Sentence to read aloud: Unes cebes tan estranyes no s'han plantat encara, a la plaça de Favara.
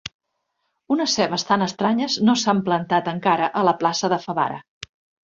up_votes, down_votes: 5, 0